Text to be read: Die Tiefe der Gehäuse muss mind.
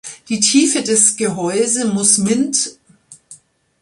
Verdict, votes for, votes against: accepted, 2, 1